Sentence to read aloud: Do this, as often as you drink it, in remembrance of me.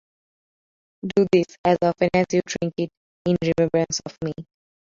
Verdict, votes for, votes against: rejected, 1, 2